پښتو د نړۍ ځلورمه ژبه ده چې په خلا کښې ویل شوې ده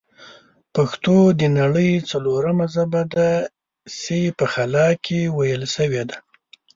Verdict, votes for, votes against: accepted, 2, 0